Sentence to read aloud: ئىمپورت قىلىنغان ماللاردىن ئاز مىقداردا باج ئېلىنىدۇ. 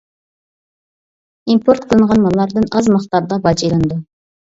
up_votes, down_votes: 2, 0